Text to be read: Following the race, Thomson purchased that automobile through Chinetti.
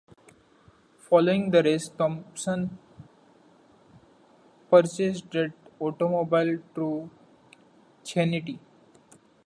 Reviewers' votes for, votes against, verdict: 0, 2, rejected